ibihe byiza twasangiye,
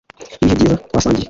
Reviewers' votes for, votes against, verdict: 2, 1, accepted